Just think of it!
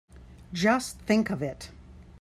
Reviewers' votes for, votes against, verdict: 2, 0, accepted